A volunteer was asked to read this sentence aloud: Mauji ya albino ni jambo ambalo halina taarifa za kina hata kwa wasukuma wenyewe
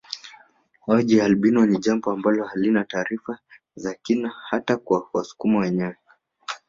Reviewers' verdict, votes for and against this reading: accepted, 3, 2